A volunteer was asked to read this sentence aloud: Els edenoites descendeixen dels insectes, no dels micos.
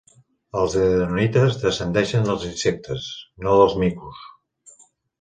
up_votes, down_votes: 2, 0